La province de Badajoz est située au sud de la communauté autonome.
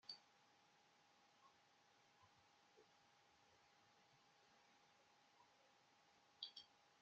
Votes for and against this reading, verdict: 0, 2, rejected